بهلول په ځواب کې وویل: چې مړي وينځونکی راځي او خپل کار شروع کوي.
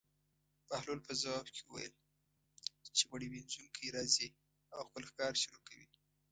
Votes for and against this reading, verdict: 2, 0, accepted